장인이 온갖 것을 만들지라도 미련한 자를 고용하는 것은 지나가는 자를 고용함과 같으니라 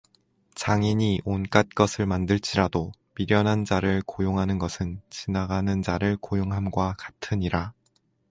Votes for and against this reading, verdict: 4, 0, accepted